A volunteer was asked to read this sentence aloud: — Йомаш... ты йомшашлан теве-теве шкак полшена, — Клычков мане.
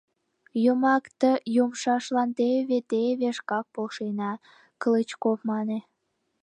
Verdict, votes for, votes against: rejected, 0, 2